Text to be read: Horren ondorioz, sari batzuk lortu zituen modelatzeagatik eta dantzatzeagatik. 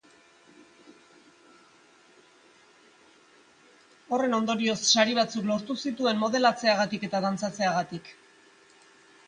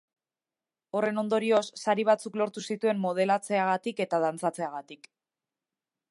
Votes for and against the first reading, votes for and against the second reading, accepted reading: 1, 2, 2, 0, second